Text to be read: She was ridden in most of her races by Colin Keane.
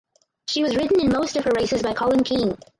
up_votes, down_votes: 2, 4